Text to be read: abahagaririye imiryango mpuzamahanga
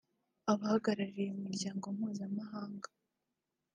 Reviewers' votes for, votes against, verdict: 2, 0, accepted